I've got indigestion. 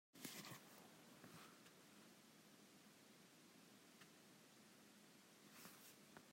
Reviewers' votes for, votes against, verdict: 1, 2, rejected